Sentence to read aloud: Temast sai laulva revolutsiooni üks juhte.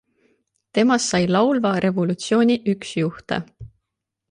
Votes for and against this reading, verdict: 2, 0, accepted